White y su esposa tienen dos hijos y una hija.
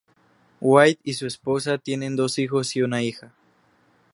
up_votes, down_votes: 4, 0